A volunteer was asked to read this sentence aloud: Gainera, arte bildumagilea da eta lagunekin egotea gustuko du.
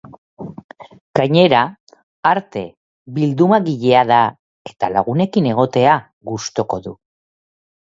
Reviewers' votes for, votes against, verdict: 1, 2, rejected